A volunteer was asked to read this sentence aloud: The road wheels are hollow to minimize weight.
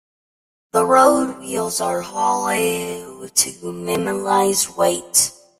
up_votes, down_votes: 0, 2